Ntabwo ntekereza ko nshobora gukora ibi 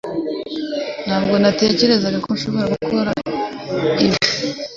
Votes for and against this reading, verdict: 1, 2, rejected